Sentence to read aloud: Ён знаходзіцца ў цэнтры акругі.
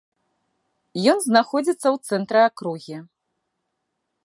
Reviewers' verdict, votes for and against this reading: accepted, 2, 0